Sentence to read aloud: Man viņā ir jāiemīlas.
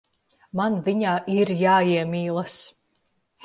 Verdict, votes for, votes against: accepted, 2, 0